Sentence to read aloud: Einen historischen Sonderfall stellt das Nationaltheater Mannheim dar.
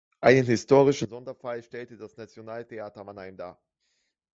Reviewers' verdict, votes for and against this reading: rejected, 1, 2